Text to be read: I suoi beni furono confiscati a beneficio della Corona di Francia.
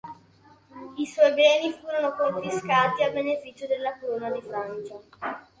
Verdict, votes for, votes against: accepted, 3, 1